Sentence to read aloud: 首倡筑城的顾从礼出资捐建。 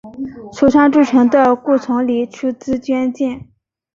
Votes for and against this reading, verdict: 2, 0, accepted